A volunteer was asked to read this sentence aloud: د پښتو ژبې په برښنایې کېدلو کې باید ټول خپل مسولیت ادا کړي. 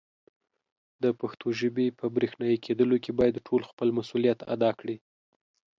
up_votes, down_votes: 2, 0